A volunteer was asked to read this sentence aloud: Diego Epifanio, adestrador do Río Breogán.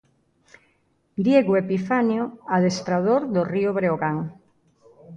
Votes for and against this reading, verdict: 2, 0, accepted